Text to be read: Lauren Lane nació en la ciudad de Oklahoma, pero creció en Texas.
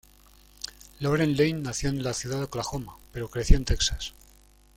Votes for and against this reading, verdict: 2, 0, accepted